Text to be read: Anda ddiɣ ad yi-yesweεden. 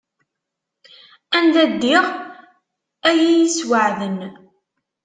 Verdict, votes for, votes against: accepted, 2, 0